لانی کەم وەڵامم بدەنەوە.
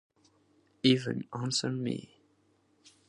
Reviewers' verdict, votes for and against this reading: rejected, 0, 4